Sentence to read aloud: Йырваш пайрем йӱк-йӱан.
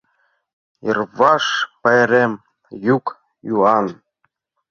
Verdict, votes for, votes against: rejected, 0, 2